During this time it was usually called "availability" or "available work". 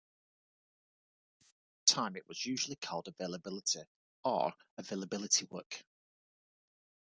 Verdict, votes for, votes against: rejected, 0, 2